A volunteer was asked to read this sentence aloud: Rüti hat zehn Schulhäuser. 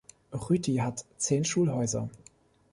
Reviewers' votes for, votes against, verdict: 2, 0, accepted